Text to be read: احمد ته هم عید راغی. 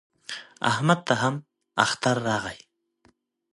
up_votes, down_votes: 0, 2